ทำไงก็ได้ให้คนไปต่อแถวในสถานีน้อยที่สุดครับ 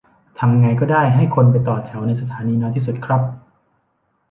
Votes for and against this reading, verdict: 2, 0, accepted